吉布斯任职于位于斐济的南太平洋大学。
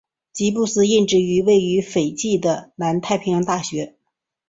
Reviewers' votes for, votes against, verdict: 5, 0, accepted